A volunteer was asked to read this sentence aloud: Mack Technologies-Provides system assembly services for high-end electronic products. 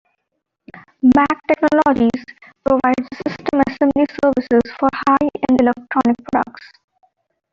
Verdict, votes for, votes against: accepted, 2, 1